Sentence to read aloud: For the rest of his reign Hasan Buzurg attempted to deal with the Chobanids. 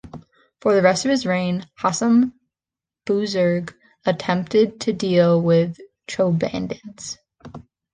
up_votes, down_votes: 0, 2